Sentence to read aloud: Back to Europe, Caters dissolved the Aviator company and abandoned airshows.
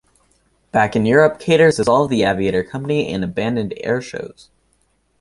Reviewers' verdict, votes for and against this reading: rejected, 1, 2